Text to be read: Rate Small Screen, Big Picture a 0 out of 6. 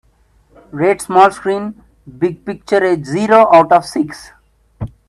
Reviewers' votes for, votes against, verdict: 0, 2, rejected